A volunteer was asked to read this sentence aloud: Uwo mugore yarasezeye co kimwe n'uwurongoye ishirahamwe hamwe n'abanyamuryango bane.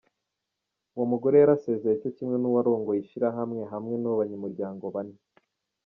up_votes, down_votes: 2, 0